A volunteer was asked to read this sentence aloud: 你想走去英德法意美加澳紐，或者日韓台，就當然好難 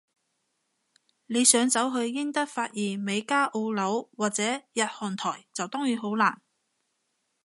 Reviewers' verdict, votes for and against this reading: accepted, 2, 0